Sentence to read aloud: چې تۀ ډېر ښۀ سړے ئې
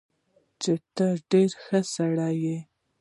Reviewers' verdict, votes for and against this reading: accepted, 2, 0